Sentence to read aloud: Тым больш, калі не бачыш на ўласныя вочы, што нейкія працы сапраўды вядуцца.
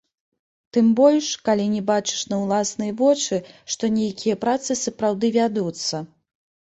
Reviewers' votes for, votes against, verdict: 2, 0, accepted